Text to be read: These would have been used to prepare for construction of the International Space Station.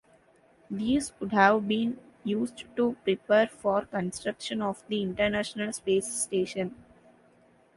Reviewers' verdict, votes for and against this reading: accepted, 2, 0